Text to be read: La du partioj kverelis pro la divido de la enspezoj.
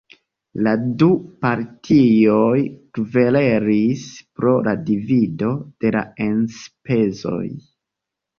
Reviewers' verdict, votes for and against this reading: rejected, 0, 2